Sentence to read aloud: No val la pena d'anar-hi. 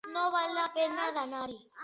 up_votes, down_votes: 3, 0